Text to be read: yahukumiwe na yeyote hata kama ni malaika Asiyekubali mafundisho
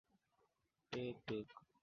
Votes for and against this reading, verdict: 0, 2, rejected